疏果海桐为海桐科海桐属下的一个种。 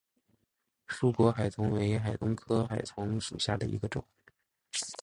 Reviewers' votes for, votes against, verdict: 2, 0, accepted